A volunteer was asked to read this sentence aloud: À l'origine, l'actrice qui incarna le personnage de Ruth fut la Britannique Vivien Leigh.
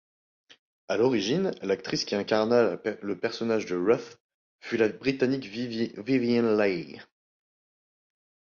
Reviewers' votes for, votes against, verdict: 0, 2, rejected